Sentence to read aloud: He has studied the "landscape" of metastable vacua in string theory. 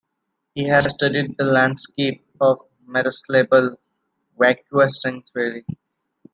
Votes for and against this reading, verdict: 1, 2, rejected